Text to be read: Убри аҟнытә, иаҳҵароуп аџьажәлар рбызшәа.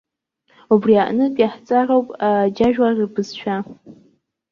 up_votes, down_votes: 1, 2